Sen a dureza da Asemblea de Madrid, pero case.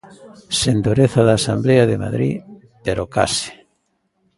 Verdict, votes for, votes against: rejected, 0, 2